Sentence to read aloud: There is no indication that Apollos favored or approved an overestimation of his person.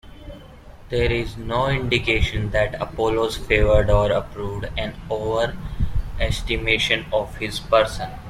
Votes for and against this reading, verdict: 0, 2, rejected